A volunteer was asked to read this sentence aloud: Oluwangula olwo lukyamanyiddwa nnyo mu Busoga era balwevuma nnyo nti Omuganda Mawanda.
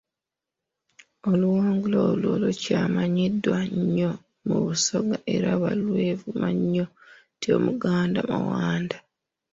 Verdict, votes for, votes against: rejected, 0, 2